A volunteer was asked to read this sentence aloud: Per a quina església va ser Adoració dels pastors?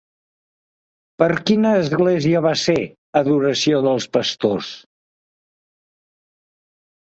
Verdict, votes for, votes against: rejected, 1, 2